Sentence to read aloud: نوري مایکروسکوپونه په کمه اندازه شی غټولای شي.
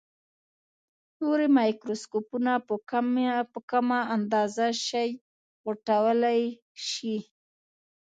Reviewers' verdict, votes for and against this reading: rejected, 1, 2